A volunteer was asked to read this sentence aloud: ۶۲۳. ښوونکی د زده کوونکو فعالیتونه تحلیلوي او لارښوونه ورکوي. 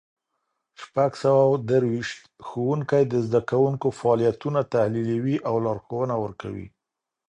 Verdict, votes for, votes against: rejected, 0, 2